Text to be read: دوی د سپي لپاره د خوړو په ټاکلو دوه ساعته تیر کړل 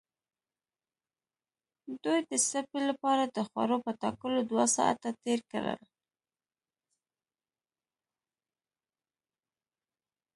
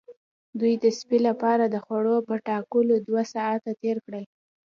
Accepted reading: second